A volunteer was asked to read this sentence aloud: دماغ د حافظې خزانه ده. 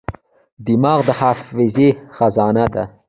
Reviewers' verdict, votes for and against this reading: rejected, 1, 2